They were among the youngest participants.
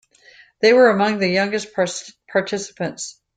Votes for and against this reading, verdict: 0, 2, rejected